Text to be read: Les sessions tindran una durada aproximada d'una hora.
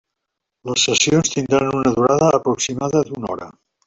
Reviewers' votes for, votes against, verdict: 1, 2, rejected